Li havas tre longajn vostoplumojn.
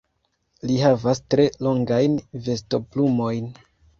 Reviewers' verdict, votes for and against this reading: rejected, 0, 2